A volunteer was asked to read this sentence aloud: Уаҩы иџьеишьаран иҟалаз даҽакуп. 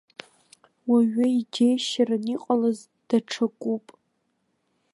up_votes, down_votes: 0, 2